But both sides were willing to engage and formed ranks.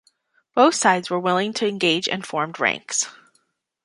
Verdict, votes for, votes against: rejected, 1, 2